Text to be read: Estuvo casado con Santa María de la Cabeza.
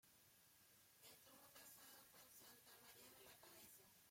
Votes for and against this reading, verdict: 0, 3, rejected